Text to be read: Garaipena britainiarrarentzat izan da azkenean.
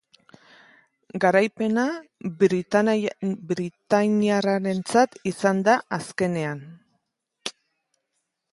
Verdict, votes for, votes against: rejected, 0, 2